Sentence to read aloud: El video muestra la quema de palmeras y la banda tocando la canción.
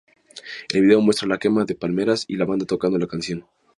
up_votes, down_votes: 2, 0